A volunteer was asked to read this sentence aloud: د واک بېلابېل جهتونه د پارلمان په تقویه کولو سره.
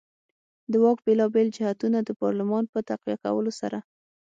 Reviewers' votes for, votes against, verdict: 6, 0, accepted